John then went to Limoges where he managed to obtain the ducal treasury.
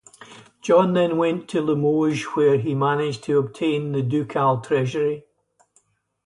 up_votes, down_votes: 2, 0